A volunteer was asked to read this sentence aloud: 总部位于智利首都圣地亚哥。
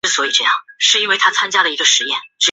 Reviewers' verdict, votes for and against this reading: rejected, 0, 2